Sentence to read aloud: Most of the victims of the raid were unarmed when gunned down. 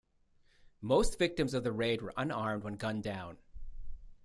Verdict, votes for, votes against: rejected, 0, 2